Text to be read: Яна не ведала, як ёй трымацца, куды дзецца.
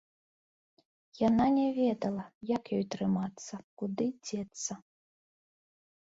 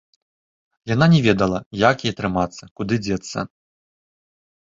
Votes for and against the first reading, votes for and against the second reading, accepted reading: 2, 0, 1, 2, first